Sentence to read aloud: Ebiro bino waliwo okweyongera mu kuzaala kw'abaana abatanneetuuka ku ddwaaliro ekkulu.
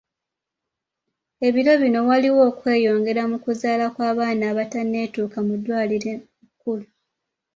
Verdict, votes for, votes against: rejected, 1, 2